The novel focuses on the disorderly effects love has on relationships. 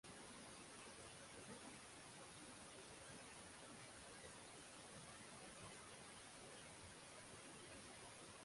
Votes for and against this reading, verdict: 0, 6, rejected